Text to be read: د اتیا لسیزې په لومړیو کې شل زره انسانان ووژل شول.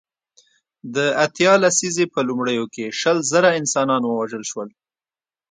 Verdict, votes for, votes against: accepted, 2, 0